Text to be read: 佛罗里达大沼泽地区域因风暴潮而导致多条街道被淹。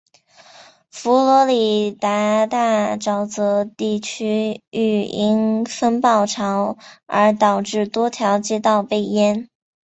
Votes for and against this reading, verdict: 2, 3, rejected